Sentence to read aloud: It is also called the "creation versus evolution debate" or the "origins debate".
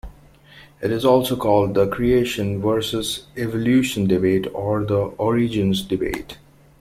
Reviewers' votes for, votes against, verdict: 2, 1, accepted